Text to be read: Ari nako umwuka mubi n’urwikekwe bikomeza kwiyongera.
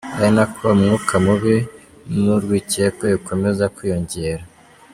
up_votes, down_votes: 2, 0